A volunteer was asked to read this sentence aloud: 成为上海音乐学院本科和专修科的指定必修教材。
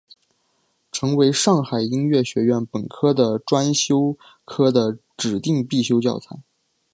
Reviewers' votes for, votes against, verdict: 1, 2, rejected